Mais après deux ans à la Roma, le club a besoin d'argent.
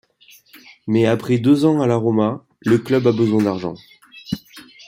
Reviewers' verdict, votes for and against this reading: accepted, 2, 0